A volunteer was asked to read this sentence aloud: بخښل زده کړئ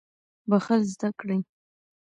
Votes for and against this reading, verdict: 1, 2, rejected